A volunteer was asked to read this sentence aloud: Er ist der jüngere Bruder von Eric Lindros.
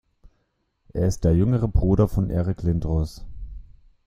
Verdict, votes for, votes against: accepted, 2, 0